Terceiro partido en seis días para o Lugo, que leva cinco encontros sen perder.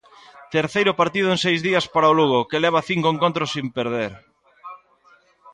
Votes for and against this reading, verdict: 0, 2, rejected